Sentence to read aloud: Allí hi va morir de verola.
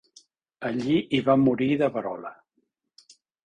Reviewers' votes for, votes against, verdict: 3, 0, accepted